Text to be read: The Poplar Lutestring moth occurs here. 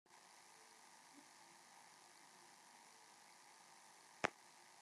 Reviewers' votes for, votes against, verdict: 0, 3, rejected